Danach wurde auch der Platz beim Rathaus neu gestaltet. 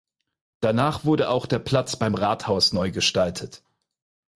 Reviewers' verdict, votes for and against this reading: accepted, 4, 0